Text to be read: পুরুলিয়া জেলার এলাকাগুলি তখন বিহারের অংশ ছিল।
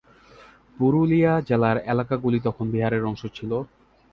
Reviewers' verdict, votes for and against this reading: accepted, 15, 4